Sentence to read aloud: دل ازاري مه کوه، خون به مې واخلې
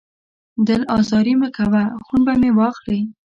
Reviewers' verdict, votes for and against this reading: accepted, 2, 0